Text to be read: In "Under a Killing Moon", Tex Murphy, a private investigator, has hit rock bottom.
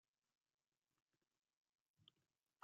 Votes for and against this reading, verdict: 1, 2, rejected